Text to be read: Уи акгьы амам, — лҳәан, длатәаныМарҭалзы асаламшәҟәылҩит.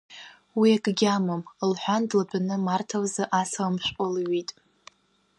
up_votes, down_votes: 2, 0